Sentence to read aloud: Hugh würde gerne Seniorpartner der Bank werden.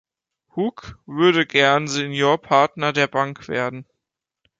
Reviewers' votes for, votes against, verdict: 0, 3, rejected